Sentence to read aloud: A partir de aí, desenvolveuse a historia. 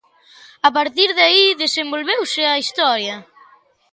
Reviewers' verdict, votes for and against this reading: accepted, 2, 0